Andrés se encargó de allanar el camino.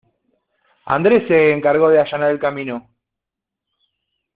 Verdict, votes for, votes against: accepted, 2, 0